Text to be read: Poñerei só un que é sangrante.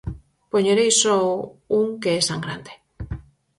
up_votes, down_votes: 4, 0